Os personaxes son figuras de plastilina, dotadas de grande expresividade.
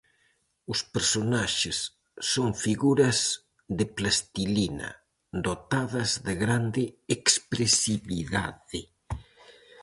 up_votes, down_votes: 2, 2